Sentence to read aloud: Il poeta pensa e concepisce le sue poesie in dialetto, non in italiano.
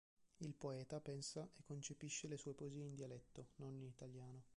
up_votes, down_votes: 0, 2